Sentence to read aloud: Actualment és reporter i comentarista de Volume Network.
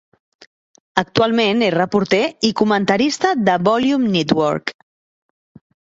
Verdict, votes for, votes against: accepted, 4, 0